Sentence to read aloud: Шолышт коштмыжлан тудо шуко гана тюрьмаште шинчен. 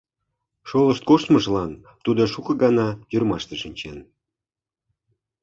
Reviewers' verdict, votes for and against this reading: accepted, 2, 0